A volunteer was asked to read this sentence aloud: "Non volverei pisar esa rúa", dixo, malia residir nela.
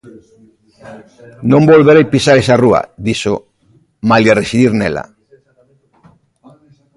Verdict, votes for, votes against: rejected, 1, 2